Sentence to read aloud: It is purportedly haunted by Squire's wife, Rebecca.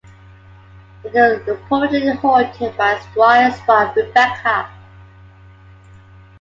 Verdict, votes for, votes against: accepted, 2, 1